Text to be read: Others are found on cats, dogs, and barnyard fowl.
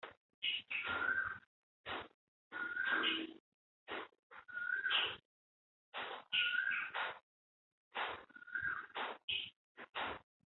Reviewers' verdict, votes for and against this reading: rejected, 0, 2